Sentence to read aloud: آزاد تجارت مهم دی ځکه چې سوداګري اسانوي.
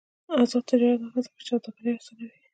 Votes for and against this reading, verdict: 0, 2, rejected